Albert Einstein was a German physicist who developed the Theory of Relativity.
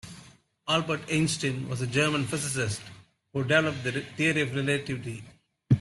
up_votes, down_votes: 1, 2